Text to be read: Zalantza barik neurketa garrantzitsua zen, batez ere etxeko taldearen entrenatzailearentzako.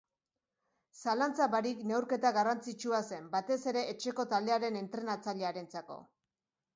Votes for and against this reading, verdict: 2, 0, accepted